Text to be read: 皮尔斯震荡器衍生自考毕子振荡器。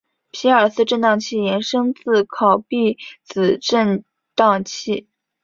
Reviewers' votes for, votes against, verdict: 2, 0, accepted